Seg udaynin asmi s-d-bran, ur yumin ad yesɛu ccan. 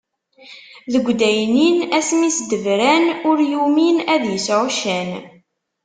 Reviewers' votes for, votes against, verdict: 1, 2, rejected